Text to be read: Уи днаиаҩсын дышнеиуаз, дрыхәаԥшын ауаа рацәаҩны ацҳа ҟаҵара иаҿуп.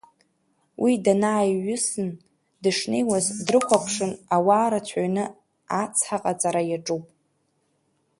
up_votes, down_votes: 1, 4